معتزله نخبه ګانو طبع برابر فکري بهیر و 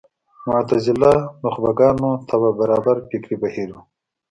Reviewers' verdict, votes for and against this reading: accepted, 2, 0